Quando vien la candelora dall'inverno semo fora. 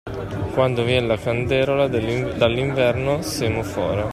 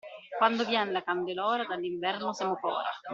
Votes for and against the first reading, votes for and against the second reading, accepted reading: 0, 2, 2, 0, second